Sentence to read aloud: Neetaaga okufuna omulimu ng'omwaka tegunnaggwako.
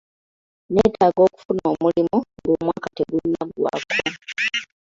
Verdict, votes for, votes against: accepted, 2, 0